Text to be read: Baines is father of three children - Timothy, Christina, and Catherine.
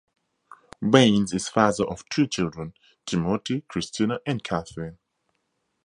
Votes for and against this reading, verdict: 4, 0, accepted